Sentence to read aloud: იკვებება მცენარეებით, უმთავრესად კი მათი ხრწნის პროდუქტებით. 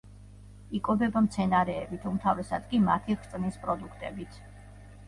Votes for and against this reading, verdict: 1, 2, rejected